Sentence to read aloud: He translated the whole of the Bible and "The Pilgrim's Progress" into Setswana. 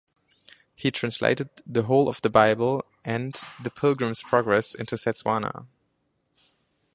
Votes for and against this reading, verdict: 2, 0, accepted